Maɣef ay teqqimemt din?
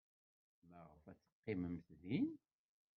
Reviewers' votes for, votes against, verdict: 1, 2, rejected